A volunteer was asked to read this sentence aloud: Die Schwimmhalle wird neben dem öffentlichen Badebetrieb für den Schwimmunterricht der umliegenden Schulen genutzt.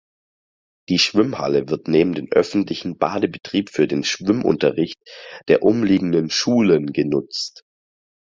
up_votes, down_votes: 4, 0